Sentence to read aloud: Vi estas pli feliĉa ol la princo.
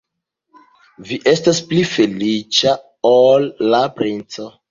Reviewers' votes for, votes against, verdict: 2, 0, accepted